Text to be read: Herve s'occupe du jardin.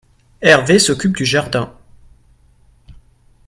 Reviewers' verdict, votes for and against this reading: rejected, 1, 2